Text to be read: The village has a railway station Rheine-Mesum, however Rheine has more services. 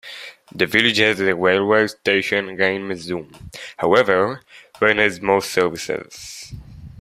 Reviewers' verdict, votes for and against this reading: rejected, 1, 2